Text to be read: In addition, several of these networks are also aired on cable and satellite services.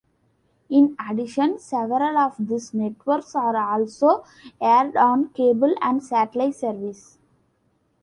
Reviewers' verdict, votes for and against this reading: accepted, 2, 0